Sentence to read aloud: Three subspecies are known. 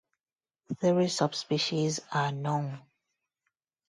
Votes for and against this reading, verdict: 0, 2, rejected